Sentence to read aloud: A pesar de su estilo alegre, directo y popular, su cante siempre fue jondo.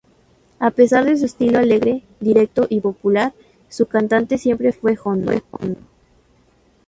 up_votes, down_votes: 0, 2